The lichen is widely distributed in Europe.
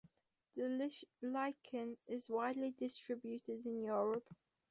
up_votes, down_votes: 0, 4